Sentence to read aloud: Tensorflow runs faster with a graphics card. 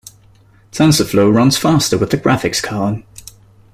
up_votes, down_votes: 2, 0